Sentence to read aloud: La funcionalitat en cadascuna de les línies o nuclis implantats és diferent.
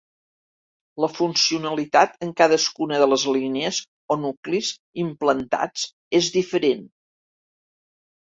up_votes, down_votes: 2, 0